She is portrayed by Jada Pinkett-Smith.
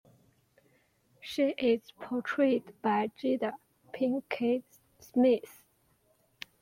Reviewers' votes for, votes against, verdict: 0, 2, rejected